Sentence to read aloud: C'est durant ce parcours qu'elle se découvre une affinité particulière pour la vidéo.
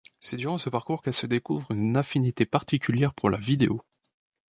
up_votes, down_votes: 2, 0